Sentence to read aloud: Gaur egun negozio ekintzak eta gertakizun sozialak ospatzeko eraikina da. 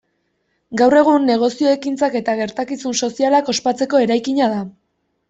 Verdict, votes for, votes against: accepted, 2, 0